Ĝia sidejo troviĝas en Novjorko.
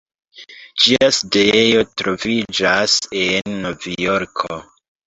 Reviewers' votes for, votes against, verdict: 2, 1, accepted